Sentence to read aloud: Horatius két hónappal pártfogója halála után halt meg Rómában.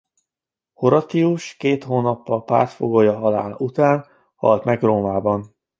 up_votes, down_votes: 0, 2